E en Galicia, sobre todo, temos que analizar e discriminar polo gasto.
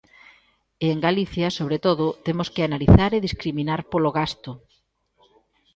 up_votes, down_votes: 2, 0